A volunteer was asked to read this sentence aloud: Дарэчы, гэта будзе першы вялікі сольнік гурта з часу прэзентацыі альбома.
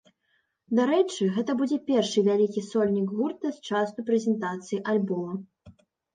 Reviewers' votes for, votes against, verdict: 2, 0, accepted